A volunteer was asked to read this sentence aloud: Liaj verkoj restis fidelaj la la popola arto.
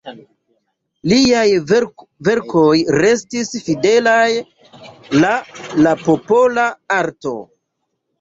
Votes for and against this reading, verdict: 2, 3, rejected